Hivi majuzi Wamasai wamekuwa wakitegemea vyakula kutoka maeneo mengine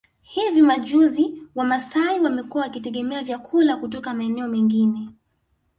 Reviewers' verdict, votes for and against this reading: accepted, 2, 0